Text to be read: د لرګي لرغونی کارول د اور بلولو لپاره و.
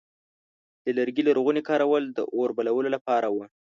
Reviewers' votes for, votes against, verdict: 2, 0, accepted